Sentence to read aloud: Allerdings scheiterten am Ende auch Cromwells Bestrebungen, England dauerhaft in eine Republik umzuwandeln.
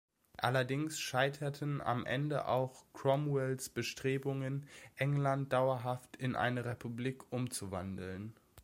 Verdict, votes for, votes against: accepted, 2, 0